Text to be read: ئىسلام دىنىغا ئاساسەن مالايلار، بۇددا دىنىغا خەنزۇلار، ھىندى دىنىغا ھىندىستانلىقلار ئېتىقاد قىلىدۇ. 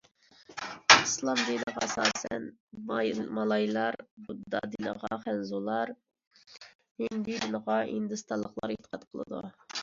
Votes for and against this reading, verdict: 0, 2, rejected